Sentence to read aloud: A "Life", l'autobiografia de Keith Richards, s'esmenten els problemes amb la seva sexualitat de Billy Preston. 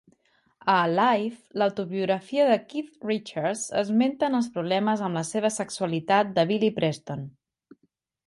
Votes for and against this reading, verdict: 1, 2, rejected